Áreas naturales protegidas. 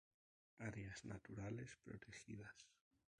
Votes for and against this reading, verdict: 2, 0, accepted